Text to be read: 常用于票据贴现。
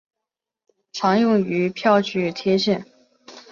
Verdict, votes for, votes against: accepted, 4, 0